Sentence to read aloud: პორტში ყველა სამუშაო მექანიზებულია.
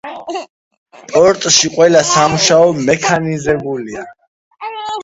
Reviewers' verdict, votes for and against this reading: rejected, 0, 2